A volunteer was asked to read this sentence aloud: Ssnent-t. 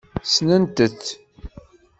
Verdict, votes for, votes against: accepted, 2, 0